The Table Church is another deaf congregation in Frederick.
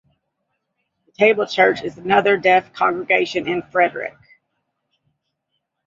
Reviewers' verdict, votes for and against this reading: accepted, 2, 0